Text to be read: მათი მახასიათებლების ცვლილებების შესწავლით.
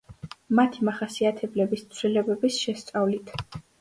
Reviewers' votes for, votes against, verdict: 2, 0, accepted